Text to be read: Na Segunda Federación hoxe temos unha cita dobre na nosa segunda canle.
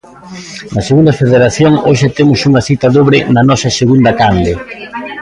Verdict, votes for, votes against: rejected, 1, 2